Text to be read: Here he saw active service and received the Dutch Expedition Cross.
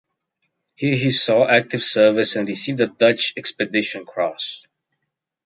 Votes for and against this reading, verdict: 2, 0, accepted